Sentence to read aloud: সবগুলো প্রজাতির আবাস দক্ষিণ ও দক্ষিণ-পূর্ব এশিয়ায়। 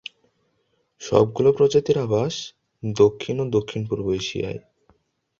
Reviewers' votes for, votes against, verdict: 2, 0, accepted